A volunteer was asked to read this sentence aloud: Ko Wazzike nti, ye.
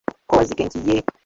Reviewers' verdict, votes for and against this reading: rejected, 0, 2